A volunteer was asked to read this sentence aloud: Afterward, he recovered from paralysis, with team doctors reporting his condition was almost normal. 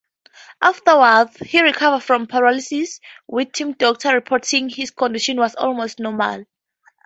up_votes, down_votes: 4, 2